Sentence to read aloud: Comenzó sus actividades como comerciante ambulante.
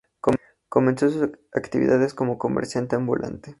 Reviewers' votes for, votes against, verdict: 0, 2, rejected